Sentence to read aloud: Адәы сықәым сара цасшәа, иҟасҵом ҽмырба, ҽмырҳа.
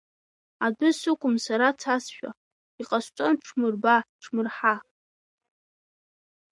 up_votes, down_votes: 2, 3